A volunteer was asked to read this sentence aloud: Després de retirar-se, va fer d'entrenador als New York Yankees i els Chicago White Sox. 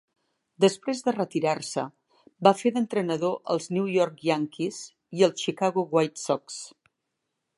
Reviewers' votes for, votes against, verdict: 2, 0, accepted